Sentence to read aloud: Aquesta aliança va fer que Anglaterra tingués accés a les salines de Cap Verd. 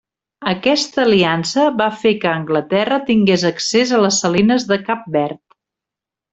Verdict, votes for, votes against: accepted, 3, 0